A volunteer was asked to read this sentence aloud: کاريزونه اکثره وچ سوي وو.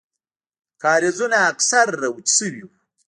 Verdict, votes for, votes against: rejected, 1, 2